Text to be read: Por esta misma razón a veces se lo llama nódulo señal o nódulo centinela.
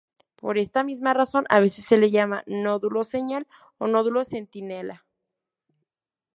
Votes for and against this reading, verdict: 2, 2, rejected